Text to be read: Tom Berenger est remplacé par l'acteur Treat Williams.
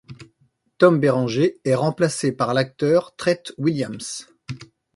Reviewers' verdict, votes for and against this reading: accepted, 2, 0